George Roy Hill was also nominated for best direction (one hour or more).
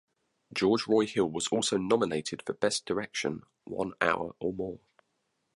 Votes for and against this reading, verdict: 2, 0, accepted